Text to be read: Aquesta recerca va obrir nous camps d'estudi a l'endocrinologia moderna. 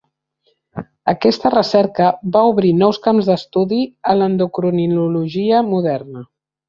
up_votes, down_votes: 1, 2